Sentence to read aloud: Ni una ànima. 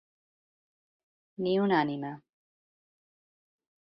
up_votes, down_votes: 2, 1